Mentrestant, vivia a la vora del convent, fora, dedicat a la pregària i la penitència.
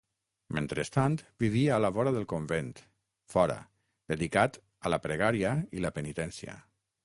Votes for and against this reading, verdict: 6, 0, accepted